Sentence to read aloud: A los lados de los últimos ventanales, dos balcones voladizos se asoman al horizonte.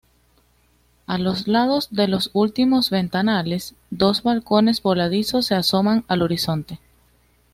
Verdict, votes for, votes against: accepted, 2, 0